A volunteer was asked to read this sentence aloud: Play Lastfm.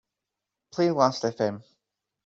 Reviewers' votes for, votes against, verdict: 2, 0, accepted